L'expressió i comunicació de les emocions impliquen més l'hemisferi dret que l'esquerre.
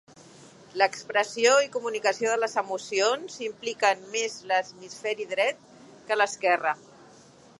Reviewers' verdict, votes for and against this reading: rejected, 0, 2